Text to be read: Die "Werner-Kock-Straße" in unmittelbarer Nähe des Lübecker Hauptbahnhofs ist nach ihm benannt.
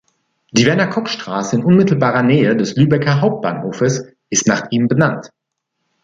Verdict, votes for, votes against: rejected, 1, 2